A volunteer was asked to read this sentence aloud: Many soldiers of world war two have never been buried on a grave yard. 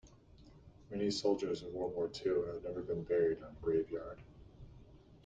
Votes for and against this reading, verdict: 1, 2, rejected